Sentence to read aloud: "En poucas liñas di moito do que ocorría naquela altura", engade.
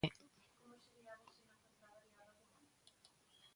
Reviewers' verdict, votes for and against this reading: rejected, 0, 2